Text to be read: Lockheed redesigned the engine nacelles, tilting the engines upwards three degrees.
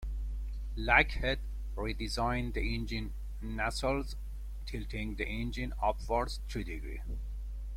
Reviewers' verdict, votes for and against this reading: rejected, 0, 2